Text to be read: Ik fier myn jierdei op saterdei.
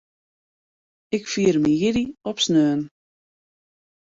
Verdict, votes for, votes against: rejected, 1, 2